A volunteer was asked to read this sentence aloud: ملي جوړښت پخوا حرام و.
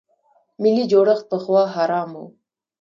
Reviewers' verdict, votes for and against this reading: accepted, 2, 0